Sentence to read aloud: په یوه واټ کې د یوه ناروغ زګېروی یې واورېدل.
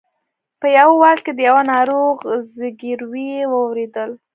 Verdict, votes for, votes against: rejected, 0, 2